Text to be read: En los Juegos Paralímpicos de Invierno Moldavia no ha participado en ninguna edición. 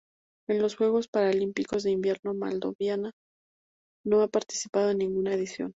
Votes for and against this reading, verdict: 0, 2, rejected